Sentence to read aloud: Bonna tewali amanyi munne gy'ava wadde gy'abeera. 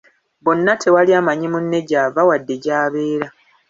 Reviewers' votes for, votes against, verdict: 2, 0, accepted